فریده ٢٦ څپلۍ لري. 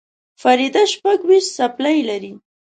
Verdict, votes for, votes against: rejected, 0, 2